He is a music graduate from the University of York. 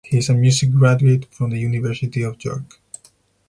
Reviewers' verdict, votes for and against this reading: accepted, 4, 0